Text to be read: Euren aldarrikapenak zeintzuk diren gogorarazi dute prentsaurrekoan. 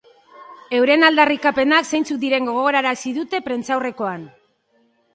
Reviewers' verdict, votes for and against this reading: accepted, 3, 0